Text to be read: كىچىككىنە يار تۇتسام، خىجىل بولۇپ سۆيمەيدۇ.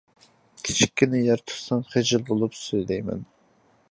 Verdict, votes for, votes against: rejected, 0, 2